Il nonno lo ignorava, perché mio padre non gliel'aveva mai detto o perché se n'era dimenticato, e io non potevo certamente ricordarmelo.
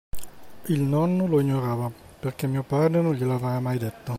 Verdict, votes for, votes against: rejected, 0, 2